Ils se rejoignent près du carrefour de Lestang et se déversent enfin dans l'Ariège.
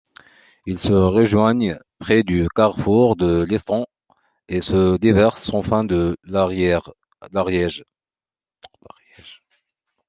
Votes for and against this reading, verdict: 0, 2, rejected